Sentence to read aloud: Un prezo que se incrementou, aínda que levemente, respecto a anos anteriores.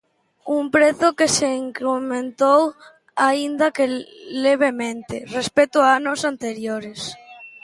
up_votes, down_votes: 0, 2